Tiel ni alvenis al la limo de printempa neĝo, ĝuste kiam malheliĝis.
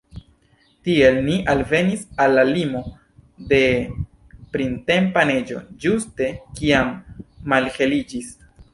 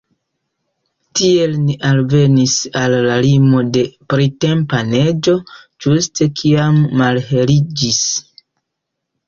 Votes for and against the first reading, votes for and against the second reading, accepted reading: 1, 2, 2, 0, second